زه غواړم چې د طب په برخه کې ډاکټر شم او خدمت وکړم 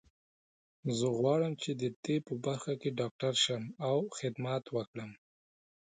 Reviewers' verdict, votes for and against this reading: accepted, 2, 0